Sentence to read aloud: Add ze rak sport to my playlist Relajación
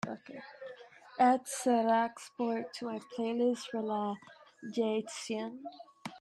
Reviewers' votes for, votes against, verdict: 1, 2, rejected